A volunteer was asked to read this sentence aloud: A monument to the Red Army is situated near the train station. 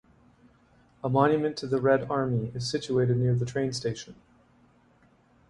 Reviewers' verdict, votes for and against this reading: accepted, 2, 0